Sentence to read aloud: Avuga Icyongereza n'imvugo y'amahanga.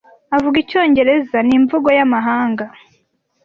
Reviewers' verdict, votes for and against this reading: accepted, 2, 0